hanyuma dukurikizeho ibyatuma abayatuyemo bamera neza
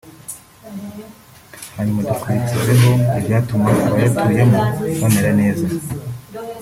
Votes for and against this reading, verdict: 2, 0, accepted